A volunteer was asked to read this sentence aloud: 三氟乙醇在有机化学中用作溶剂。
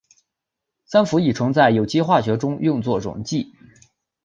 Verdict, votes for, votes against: accepted, 2, 0